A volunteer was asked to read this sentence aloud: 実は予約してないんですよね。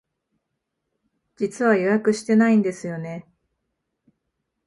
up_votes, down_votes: 0, 2